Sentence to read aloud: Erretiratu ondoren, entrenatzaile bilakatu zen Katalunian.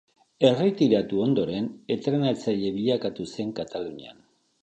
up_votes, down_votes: 2, 1